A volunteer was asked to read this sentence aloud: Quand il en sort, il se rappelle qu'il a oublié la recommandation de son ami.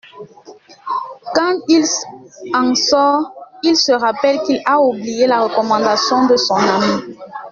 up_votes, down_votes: 1, 2